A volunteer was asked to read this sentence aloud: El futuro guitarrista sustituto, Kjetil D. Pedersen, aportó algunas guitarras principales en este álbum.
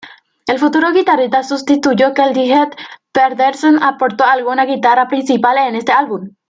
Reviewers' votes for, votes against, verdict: 1, 2, rejected